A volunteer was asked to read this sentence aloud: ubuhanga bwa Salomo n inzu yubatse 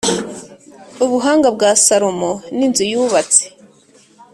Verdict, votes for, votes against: accepted, 3, 0